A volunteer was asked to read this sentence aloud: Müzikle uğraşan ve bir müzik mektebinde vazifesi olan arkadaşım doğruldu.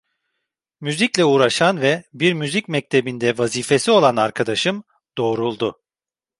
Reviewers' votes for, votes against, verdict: 2, 0, accepted